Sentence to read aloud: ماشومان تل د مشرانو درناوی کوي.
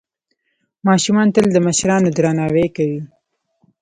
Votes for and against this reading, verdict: 2, 0, accepted